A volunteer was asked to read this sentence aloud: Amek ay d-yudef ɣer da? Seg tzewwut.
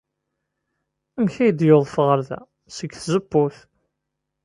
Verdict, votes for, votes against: rejected, 1, 2